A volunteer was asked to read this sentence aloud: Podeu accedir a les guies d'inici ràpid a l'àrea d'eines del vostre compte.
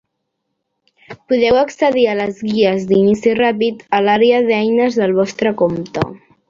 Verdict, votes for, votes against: accepted, 3, 1